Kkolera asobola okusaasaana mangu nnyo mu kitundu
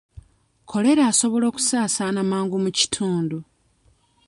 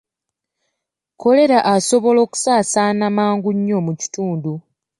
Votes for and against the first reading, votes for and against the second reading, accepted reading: 1, 2, 2, 0, second